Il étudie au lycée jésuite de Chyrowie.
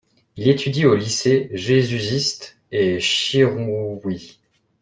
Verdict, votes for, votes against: rejected, 1, 2